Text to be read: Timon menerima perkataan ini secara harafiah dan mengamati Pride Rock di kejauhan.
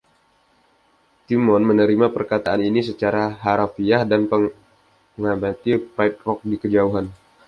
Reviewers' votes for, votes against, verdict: 1, 2, rejected